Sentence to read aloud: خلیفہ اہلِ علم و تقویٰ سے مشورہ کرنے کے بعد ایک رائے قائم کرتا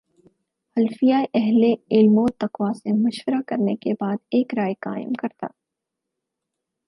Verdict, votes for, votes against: rejected, 2, 4